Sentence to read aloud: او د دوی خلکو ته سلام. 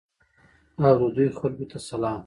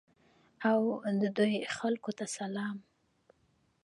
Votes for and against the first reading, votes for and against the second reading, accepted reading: 0, 2, 2, 1, second